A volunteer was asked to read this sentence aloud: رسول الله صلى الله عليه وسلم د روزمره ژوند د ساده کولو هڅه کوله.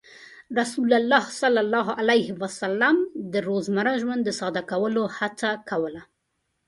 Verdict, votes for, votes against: accepted, 2, 0